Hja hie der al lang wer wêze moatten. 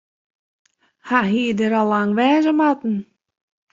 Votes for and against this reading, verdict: 0, 2, rejected